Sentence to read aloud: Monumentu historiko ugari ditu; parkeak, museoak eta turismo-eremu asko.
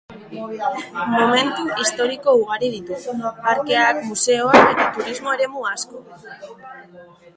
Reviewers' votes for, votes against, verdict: 0, 2, rejected